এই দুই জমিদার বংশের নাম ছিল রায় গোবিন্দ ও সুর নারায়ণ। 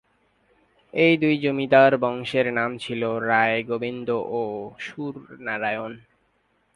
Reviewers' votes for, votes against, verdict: 5, 0, accepted